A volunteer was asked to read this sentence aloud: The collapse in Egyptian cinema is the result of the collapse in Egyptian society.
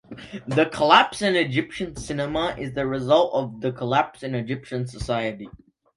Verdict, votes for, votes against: accepted, 2, 0